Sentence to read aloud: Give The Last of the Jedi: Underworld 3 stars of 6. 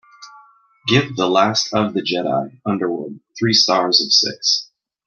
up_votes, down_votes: 0, 2